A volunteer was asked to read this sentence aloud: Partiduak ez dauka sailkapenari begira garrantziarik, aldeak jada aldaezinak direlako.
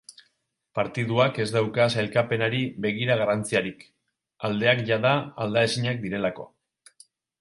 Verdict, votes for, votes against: accepted, 2, 0